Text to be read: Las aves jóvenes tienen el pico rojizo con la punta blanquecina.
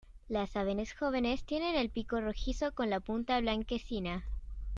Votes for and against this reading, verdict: 0, 2, rejected